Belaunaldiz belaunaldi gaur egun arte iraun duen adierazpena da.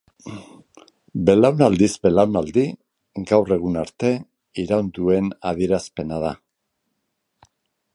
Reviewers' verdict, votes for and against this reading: accepted, 6, 0